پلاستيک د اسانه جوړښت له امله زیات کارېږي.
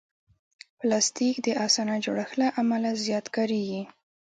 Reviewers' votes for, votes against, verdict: 2, 0, accepted